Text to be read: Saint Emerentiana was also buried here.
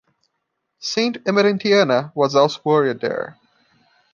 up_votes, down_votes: 0, 2